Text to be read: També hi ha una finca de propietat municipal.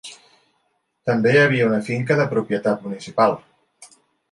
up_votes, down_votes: 0, 2